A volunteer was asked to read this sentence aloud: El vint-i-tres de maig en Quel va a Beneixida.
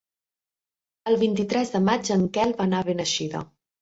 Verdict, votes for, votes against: rejected, 0, 2